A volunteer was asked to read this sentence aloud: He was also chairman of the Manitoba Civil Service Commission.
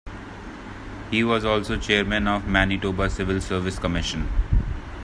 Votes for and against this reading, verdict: 0, 2, rejected